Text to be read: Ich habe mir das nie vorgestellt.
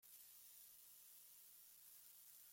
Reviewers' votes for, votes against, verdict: 0, 2, rejected